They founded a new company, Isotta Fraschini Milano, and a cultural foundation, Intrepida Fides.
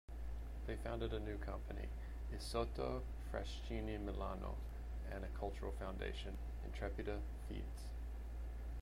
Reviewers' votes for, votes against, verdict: 0, 2, rejected